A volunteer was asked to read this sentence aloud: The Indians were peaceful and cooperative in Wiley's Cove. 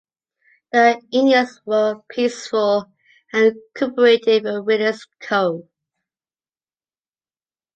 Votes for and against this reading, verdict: 0, 2, rejected